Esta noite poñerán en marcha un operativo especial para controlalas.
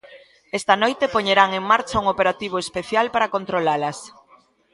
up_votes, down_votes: 2, 0